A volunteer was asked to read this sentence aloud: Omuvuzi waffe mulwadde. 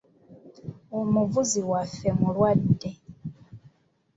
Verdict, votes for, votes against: accepted, 2, 0